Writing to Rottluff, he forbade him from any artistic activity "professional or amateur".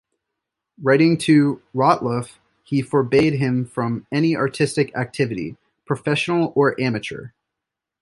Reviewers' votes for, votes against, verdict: 2, 0, accepted